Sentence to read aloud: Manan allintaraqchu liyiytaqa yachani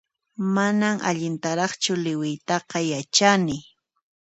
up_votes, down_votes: 1, 2